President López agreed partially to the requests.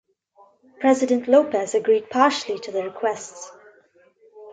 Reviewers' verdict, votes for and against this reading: accepted, 3, 0